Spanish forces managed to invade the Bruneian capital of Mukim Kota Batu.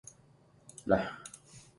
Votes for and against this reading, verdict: 0, 3, rejected